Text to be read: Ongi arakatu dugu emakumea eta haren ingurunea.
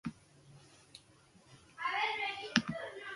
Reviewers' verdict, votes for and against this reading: rejected, 0, 4